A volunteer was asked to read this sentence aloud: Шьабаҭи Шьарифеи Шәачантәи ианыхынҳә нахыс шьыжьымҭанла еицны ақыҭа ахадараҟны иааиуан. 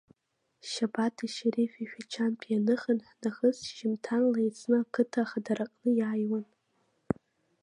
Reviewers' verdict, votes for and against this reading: rejected, 0, 2